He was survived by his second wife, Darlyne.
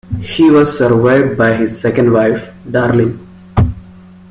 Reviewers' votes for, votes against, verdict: 0, 2, rejected